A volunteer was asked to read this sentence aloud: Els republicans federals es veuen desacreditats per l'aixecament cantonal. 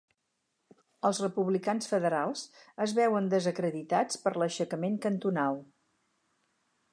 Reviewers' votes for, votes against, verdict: 4, 0, accepted